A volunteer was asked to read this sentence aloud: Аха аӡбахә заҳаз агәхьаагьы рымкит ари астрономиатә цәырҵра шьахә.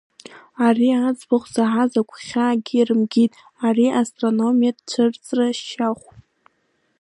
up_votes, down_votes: 0, 2